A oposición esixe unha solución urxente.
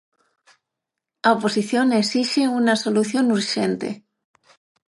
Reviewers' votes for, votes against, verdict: 3, 3, rejected